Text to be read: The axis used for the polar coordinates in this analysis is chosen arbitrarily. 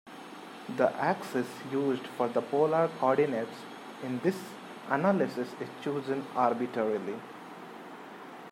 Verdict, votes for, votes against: rejected, 1, 2